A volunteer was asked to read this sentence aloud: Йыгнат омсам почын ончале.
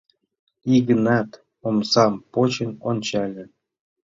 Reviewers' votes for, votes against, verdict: 2, 0, accepted